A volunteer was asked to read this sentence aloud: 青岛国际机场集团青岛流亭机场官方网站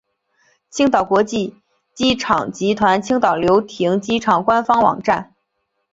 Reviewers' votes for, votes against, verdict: 2, 0, accepted